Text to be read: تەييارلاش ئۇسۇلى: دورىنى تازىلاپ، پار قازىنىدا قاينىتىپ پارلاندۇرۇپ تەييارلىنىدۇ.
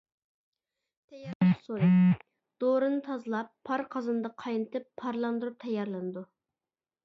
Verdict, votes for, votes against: rejected, 1, 2